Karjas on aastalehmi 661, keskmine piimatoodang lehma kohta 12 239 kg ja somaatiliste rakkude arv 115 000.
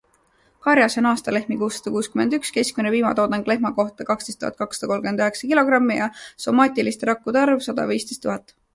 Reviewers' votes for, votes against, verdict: 0, 2, rejected